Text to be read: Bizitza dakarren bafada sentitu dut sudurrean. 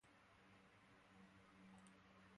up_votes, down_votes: 0, 2